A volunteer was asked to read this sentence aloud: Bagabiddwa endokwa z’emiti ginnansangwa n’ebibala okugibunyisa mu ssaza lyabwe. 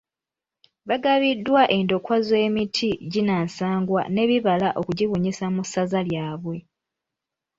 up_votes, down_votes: 0, 2